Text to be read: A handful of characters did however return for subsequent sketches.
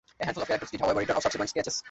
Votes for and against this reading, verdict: 0, 2, rejected